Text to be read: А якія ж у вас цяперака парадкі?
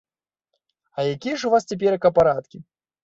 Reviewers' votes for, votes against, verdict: 2, 0, accepted